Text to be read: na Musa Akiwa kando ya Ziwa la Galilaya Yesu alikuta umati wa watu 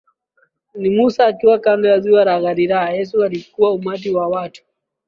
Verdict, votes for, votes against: rejected, 1, 2